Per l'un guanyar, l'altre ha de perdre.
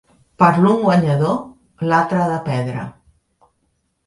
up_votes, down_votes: 0, 3